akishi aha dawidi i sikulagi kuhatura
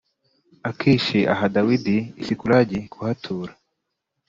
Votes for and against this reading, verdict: 4, 0, accepted